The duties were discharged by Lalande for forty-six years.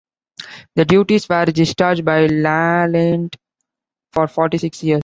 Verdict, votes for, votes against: rejected, 1, 2